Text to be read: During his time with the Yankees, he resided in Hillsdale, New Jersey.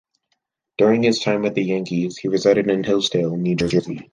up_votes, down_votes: 0, 2